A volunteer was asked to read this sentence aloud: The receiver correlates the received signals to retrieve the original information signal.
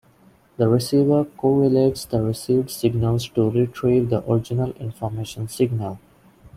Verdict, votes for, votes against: rejected, 1, 2